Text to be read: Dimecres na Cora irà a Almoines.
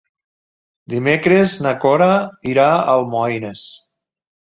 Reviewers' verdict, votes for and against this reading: accepted, 2, 0